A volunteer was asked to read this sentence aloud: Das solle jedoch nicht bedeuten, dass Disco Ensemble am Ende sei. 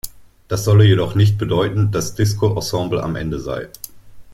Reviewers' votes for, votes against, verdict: 2, 0, accepted